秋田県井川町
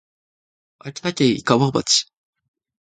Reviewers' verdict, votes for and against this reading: accepted, 2, 0